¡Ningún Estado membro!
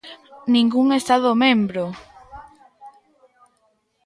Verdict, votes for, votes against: rejected, 0, 2